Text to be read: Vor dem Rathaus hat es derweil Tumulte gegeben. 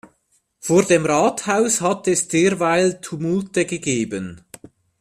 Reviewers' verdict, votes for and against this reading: accepted, 2, 0